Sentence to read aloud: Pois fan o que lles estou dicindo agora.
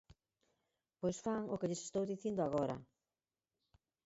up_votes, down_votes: 0, 4